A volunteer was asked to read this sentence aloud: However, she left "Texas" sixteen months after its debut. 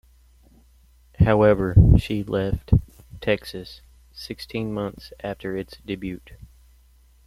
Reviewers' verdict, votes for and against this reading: rejected, 0, 2